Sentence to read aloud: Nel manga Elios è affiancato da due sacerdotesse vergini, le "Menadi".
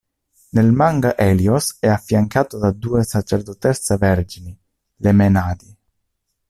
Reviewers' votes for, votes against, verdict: 0, 2, rejected